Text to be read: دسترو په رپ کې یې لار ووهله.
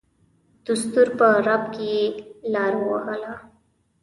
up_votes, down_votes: 2, 0